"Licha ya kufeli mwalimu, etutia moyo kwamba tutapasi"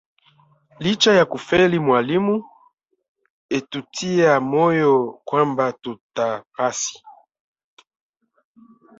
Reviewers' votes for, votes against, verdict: 0, 2, rejected